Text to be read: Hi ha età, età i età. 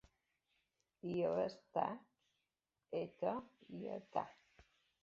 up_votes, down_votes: 0, 2